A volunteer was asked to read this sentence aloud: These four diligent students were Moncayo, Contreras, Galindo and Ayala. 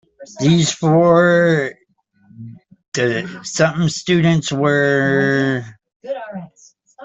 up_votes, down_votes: 0, 2